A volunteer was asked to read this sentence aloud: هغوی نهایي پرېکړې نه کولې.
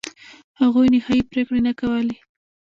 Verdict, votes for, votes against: rejected, 1, 2